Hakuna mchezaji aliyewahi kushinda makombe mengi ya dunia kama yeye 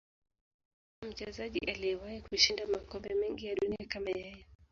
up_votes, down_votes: 1, 2